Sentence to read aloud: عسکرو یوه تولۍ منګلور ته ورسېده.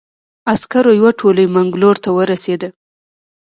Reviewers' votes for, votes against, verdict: 2, 1, accepted